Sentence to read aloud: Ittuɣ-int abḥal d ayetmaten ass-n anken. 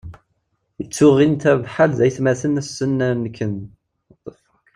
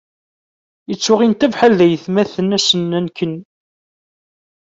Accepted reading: second